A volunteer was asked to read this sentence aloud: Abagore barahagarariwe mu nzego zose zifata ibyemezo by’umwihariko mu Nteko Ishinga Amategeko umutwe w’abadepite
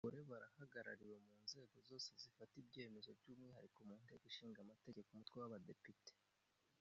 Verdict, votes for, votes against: rejected, 0, 2